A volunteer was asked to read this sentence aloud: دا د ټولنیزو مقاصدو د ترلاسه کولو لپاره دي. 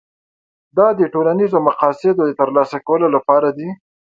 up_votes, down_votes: 2, 0